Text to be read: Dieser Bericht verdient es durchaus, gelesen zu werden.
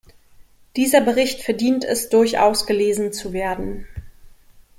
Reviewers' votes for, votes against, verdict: 2, 0, accepted